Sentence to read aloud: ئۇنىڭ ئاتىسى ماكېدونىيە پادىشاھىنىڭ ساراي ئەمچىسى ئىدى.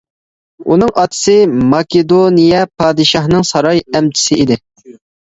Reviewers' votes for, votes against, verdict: 2, 1, accepted